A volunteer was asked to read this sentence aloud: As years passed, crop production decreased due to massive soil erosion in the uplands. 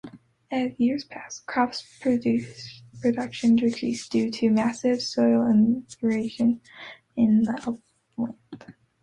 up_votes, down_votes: 1, 2